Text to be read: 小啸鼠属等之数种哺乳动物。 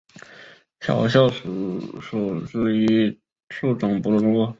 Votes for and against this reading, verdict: 0, 3, rejected